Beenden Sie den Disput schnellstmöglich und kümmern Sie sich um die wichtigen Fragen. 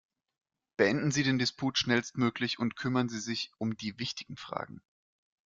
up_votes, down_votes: 2, 0